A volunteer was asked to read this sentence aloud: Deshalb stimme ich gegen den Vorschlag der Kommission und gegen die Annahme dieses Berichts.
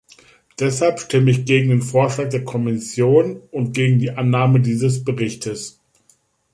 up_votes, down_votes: 1, 2